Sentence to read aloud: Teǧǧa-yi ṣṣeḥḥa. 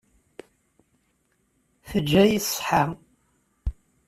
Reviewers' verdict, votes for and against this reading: accepted, 2, 0